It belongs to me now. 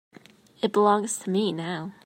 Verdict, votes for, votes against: accepted, 3, 0